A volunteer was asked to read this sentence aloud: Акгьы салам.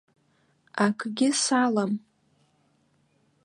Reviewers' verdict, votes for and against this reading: accepted, 2, 0